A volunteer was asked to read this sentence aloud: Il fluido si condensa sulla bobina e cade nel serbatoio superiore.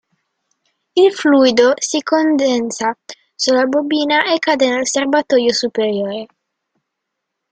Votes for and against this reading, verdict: 2, 0, accepted